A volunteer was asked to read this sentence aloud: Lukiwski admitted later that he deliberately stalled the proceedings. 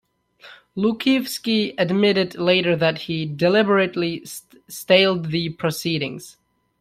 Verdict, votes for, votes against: rejected, 0, 2